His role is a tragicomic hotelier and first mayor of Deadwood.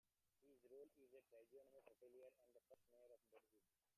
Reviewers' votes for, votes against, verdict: 0, 2, rejected